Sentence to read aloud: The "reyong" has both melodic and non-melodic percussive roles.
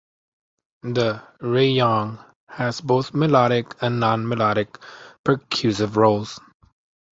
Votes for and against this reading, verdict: 2, 0, accepted